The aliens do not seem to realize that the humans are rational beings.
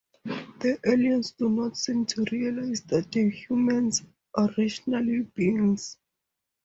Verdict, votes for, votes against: rejected, 2, 2